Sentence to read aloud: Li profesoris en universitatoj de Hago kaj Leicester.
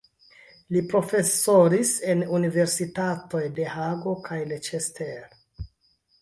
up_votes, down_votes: 2, 0